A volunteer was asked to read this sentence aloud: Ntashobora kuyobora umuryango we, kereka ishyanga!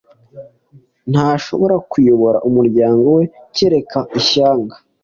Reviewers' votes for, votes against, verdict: 2, 0, accepted